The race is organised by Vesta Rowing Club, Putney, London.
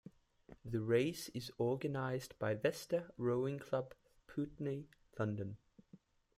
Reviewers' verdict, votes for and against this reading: rejected, 1, 2